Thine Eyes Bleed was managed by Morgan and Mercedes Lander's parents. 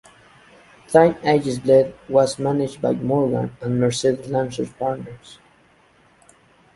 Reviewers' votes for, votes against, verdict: 1, 2, rejected